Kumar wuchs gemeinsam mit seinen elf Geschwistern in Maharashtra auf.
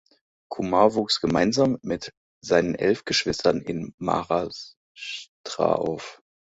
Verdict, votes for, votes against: rejected, 1, 2